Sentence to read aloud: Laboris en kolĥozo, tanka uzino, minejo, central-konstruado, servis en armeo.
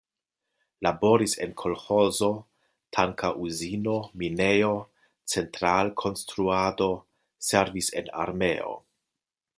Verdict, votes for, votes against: accepted, 2, 0